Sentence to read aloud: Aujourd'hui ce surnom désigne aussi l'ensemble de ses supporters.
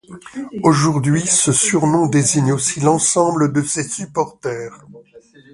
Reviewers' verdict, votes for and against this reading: accepted, 2, 1